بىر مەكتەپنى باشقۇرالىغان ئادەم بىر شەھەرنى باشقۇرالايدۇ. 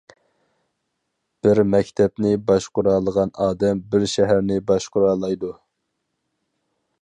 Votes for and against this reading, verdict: 4, 0, accepted